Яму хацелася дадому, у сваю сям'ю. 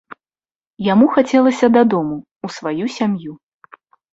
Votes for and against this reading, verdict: 2, 0, accepted